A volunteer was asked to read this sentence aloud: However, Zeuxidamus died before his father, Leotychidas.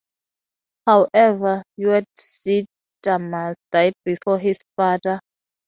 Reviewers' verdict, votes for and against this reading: rejected, 0, 2